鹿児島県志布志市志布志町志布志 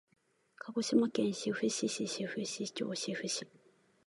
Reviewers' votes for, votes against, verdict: 2, 1, accepted